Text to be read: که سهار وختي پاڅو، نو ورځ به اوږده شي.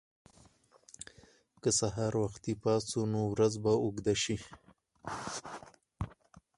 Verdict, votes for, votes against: rejected, 2, 4